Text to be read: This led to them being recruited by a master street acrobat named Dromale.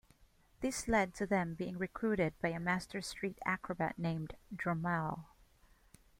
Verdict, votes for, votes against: accepted, 2, 0